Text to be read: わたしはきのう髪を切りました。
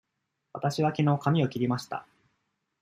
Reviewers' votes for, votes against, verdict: 2, 0, accepted